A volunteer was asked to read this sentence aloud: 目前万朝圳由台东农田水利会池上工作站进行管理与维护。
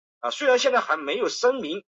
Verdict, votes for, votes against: rejected, 0, 2